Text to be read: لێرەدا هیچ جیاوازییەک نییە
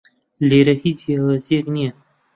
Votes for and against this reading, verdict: 0, 2, rejected